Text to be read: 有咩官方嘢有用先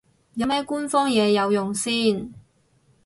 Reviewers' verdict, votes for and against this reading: accepted, 4, 0